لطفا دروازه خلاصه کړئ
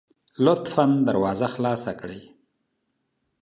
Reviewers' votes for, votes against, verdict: 2, 0, accepted